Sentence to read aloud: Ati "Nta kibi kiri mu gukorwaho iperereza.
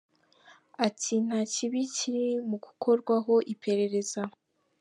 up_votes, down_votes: 2, 0